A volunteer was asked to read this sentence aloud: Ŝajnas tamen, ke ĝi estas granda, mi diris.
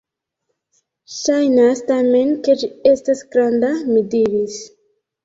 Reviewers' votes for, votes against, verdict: 2, 0, accepted